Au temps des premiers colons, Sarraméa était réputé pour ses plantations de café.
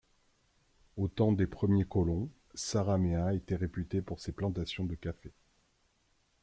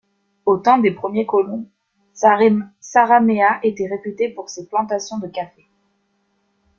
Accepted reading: first